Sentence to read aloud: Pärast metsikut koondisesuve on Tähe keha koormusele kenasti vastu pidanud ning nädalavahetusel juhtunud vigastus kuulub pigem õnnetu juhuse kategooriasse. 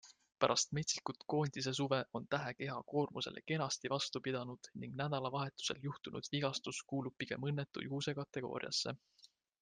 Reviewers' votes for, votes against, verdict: 3, 0, accepted